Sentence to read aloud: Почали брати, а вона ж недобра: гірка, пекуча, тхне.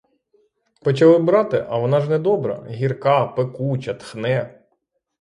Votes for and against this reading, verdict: 3, 3, rejected